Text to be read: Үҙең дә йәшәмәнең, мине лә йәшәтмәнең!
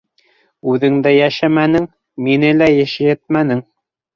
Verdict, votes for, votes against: rejected, 0, 2